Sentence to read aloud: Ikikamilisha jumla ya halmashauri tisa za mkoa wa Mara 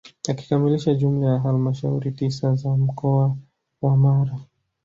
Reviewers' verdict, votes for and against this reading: rejected, 1, 2